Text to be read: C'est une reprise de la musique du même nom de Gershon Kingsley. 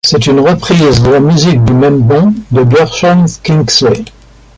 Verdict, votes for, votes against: rejected, 1, 2